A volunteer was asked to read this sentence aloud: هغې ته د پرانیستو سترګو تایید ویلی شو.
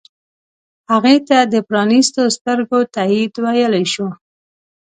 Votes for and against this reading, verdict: 2, 0, accepted